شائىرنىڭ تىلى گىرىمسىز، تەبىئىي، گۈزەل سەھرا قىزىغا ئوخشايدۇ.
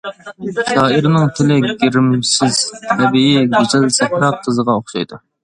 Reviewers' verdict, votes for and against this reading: accepted, 2, 0